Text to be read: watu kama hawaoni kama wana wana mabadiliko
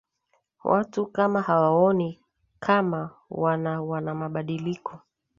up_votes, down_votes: 2, 0